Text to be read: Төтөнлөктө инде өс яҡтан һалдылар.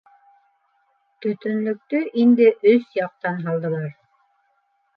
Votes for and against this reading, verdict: 2, 0, accepted